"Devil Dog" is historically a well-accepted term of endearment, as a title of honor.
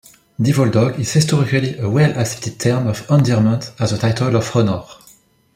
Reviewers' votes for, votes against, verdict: 0, 2, rejected